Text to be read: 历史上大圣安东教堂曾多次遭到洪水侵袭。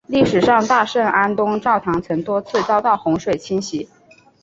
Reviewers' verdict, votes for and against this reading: accepted, 3, 0